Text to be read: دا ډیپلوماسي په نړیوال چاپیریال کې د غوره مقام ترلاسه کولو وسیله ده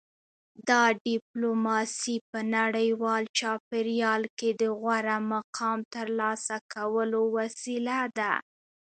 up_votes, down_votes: 2, 1